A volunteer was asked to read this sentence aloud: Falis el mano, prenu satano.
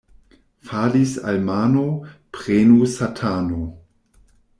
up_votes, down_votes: 0, 2